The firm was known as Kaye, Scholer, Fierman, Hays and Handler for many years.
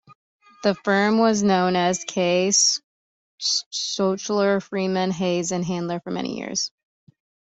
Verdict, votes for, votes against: rejected, 0, 2